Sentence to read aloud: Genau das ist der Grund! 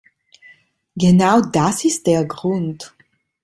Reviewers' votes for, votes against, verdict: 2, 0, accepted